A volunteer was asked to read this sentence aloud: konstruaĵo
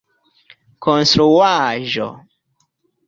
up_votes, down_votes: 2, 0